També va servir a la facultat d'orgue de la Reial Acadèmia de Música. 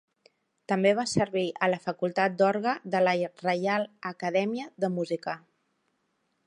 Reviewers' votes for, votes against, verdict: 1, 2, rejected